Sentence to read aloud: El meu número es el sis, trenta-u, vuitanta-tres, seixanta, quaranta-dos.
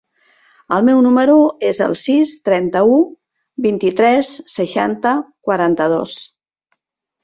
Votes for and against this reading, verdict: 0, 2, rejected